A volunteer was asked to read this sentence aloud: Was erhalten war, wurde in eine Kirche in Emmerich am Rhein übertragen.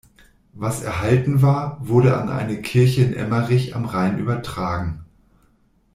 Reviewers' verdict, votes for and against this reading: rejected, 1, 2